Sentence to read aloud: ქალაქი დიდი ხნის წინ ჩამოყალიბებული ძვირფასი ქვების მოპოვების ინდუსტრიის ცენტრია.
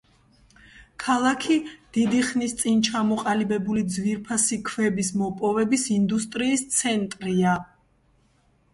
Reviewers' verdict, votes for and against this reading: accepted, 2, 1